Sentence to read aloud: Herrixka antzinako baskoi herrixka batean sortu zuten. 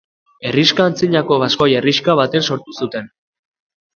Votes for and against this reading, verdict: 2, 1, accepted